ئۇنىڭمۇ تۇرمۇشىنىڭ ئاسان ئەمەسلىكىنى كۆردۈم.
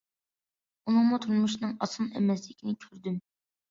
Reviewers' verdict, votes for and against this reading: accepted, 2, 1